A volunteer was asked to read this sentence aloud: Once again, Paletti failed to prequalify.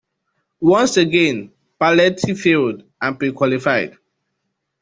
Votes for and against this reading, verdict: 1, 2, rejected